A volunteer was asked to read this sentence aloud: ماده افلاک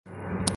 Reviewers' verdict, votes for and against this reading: rejected, 0, 6